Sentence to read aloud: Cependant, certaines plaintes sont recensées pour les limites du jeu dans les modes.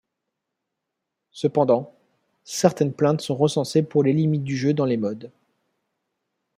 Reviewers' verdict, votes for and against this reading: accepted, 3, 0